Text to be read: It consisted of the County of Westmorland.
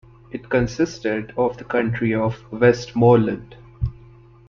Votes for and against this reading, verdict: 0, 2, rejected